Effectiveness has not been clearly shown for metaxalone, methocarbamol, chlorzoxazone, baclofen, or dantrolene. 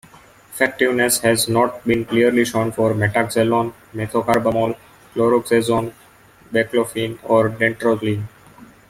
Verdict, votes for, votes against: accepted, 2, 0